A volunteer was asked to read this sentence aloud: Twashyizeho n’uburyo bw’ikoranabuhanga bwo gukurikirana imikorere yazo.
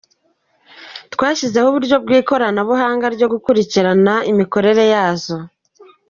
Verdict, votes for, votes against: accepted, 2, 1